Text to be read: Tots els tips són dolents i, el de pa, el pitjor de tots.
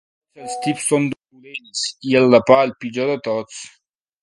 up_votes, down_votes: 0, 3